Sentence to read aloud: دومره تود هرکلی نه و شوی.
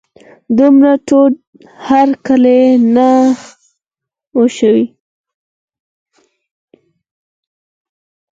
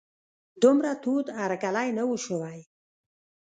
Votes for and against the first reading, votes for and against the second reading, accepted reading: 4, 2, 1, 2, first